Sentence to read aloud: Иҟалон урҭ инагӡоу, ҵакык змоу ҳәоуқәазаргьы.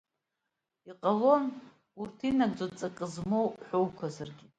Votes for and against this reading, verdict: 2, 0, accepted